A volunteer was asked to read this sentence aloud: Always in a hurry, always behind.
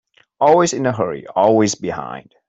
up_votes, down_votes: 2, 0